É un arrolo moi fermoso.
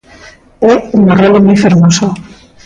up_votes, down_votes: 2, 1